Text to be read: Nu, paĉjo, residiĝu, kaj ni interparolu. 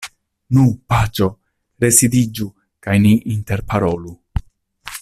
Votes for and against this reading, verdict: 2, 1, accepted